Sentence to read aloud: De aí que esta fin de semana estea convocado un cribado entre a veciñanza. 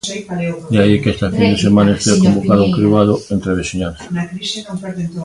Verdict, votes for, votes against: rejected, 1, 2